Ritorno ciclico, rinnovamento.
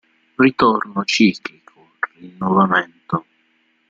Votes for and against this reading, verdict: 1, 2, rejected